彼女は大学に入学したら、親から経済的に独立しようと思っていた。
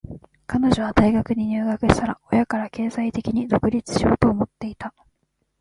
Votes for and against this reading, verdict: 2, 0, accepted